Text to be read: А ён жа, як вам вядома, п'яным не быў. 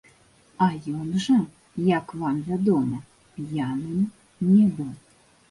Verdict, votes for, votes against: accepted, 2, 1